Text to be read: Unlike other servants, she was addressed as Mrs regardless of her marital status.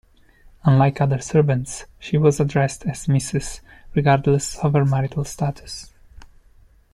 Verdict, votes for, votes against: accepted, 2, 0